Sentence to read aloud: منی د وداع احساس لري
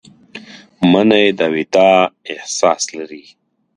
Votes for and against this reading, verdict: 1, 2, rejected